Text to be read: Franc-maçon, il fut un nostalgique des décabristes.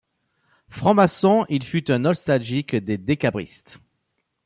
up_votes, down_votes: 2, 0